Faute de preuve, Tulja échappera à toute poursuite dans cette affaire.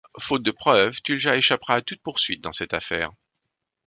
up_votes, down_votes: 2, 0